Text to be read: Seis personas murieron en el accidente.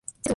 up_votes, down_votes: 0, 2